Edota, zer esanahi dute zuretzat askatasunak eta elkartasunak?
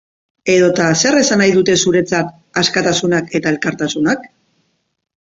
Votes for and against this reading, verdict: 3, 1, accepted